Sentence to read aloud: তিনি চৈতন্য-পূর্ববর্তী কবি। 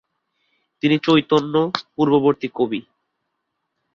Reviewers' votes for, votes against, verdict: 3, 0, accepted